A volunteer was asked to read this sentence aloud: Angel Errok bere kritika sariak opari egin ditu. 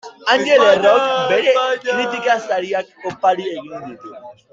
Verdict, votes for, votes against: rejected, 1, 2